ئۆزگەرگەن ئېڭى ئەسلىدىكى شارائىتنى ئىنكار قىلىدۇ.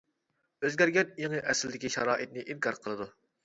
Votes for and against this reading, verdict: 2, 0, accepted